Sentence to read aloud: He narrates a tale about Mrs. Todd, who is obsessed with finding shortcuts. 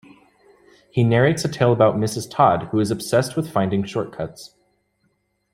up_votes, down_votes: 2, 0